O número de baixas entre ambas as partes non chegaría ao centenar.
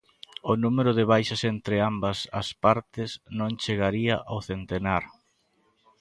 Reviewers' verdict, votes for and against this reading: accepted, 2, 0